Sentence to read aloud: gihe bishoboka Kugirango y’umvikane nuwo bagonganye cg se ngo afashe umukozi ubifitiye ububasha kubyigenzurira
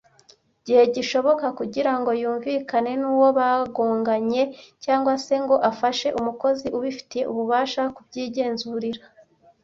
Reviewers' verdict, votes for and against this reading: rejected, 1, 2